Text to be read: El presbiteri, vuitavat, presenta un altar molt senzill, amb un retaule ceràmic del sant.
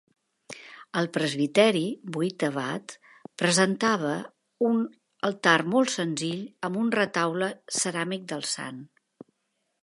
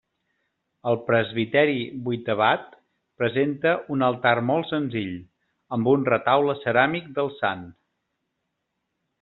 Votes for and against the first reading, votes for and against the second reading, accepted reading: 0, 2, 2, 0, second